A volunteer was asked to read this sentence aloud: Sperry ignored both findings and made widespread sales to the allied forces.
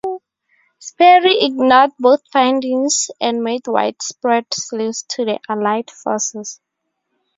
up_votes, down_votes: 2, 2